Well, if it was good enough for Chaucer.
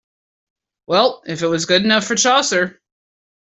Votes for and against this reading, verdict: 2, 0, accepted